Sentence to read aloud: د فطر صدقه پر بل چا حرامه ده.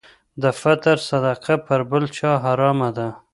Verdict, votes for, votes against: accepted, 2, 0